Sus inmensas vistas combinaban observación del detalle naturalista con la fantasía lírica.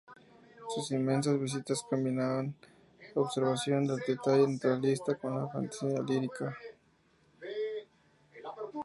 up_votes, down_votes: 2, 0